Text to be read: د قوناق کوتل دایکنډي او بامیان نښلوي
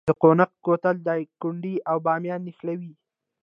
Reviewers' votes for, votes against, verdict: 1, 2, rejected